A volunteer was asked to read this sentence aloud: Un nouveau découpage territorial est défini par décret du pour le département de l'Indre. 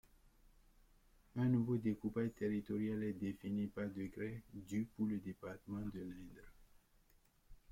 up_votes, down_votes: 0, 2